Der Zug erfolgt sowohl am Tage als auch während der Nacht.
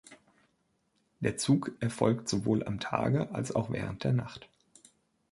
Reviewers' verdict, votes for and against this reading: accepted, 2, 0